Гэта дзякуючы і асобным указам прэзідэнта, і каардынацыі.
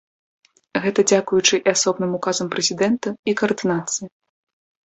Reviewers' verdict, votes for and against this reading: accepted, 2, 0